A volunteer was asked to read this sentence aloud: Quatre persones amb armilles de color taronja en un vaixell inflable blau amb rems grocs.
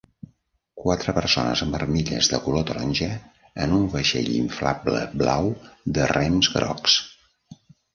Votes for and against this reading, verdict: 0, 2, rejected